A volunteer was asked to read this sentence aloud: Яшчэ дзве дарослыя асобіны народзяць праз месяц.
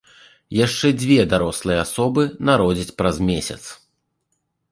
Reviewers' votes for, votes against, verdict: 1, 3, rejected